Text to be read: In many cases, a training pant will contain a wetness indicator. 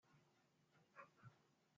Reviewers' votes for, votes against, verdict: 0, 2, rejected